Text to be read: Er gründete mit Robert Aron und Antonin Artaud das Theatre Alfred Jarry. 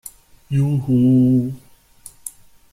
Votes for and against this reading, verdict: 0, 2, rejected